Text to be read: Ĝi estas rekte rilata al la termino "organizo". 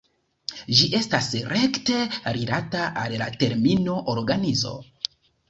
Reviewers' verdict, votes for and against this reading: accepted, 2, 0